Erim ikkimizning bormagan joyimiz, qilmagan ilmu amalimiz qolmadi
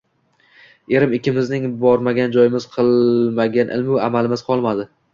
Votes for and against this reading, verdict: 1, 3, rejected